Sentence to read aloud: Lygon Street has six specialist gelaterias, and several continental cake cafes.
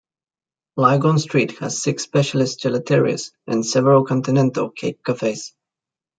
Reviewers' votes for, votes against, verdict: 1, 2, rejected